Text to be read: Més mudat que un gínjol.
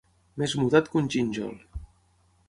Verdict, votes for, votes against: accepted, 12, 0